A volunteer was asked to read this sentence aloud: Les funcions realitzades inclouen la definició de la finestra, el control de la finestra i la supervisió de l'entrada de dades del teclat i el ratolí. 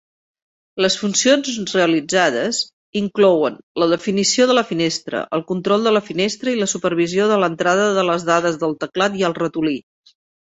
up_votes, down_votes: 1, 2